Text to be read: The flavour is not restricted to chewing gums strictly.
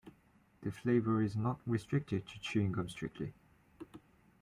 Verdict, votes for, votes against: accepted, 2, 0